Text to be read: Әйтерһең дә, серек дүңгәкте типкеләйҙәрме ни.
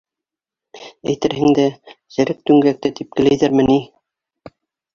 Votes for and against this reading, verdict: 1, 2, rejected